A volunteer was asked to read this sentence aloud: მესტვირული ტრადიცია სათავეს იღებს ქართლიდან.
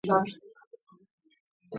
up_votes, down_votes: 0, 2